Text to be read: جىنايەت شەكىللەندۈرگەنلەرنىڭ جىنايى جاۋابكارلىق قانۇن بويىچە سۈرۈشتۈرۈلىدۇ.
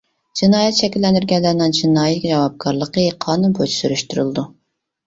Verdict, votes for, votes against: rejected, 1, 2